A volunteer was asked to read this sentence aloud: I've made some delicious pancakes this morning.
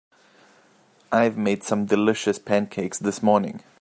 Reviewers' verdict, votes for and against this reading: accepted, 2, 0